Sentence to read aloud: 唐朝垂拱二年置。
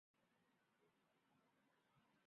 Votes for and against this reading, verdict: 3, 4, rejected